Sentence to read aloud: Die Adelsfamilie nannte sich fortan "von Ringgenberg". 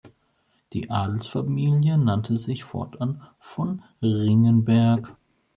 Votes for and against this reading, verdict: 2, 0, accepted